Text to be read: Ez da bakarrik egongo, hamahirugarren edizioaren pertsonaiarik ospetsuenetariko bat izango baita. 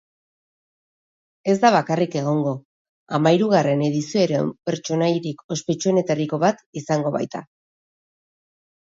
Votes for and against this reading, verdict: 0, 2, rejected